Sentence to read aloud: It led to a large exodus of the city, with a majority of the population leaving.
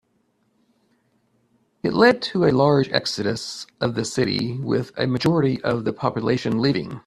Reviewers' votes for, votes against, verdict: 2, 0, accepted